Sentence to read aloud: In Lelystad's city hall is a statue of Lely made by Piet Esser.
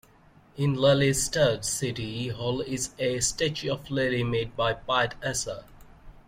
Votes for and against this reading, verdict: 2, 0, accepted